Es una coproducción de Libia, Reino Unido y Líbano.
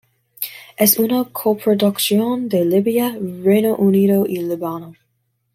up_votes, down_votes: 2, 0